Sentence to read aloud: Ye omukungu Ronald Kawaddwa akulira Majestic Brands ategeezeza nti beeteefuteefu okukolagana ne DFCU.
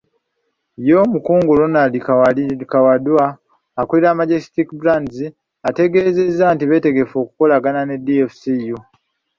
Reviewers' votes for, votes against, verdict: 0, 2, rejected